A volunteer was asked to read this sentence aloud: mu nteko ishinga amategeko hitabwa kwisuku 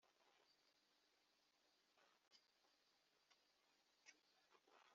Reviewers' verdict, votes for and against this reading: rejected, 1, 2